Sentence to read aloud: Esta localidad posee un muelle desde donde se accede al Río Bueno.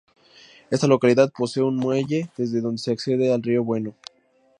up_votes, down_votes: 2, 0